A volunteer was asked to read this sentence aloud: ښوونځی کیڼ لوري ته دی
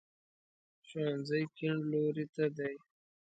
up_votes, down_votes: 1, 2